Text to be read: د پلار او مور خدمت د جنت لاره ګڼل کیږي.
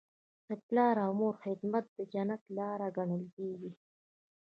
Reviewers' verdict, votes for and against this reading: rejected, 2, 3